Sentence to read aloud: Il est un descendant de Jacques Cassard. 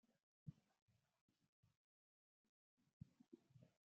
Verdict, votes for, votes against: rejected, 0, 2